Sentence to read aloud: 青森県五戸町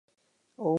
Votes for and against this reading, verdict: 0, 2, rejected